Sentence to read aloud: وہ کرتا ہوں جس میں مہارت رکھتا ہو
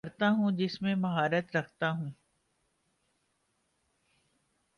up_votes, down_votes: 2, 0